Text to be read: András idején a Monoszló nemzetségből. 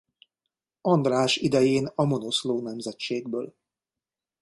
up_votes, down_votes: 2, 1